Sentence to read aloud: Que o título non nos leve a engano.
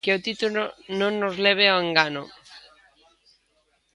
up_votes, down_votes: 1, 2